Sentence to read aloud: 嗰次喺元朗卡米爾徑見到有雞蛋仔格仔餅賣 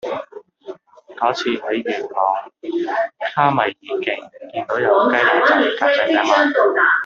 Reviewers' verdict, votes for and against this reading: rejected, 0, 2